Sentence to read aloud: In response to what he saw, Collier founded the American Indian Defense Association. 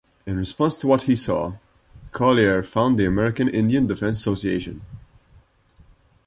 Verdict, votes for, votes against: rejected, 1, 2